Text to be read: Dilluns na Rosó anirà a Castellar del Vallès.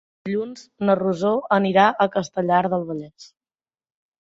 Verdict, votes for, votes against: accepted, 2, 0